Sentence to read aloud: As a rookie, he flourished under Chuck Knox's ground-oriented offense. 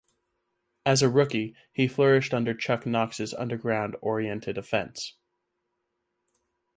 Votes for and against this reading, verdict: 2, 4, rejected